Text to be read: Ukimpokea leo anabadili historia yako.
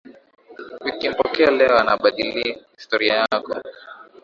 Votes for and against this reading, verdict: 2, 0, accepted